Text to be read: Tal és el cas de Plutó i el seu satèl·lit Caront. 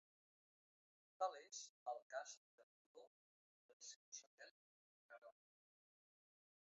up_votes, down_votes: 0, 3